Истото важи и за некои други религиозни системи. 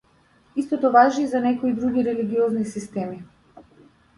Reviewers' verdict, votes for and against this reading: accepted, 2, 0